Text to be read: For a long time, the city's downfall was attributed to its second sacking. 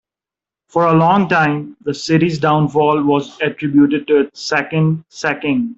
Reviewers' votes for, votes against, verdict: 2, 0, accepted